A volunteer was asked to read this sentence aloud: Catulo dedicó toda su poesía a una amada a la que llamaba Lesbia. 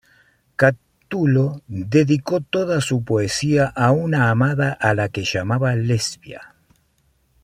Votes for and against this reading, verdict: 2, 0, accepted